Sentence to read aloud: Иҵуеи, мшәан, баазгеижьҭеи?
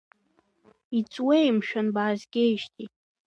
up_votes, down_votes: 2, 0